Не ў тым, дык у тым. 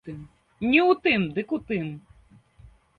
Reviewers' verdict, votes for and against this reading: rejected, 1, 2